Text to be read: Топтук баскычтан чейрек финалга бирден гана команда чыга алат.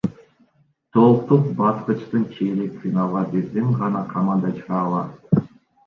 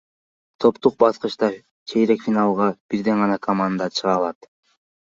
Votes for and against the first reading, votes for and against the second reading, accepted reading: 0, 2, 2, 0, second